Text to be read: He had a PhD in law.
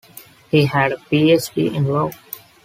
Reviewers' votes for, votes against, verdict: 2, 0, accepted